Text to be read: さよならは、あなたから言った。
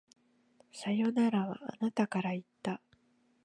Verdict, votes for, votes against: accepted, 2, 0